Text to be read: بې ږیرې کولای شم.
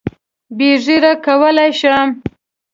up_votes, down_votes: 2, 1